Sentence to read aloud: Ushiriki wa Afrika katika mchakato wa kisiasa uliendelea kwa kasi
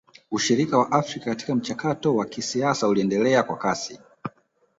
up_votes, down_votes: 0, 2